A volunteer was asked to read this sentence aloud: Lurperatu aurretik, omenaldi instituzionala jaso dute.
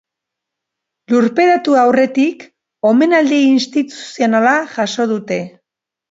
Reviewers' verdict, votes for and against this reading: rejected, 0, 2